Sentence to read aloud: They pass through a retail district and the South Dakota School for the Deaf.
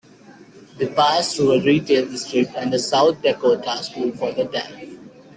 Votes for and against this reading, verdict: 2, 1, accepted